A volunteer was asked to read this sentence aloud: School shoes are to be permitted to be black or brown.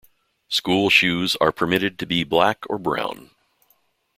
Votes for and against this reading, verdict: 1, 2, rejected